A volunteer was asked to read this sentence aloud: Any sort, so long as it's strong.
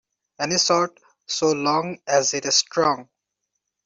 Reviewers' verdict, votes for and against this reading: rejected, 1, 2